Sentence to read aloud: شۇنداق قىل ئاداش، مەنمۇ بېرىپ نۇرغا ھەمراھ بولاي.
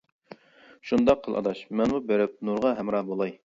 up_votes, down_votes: 2, 0